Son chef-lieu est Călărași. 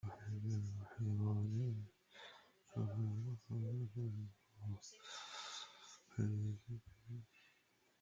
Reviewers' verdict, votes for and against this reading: rejected, 0, 2